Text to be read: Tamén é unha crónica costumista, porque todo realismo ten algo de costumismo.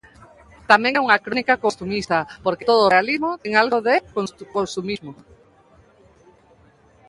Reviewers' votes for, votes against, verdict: 0, 2, rejected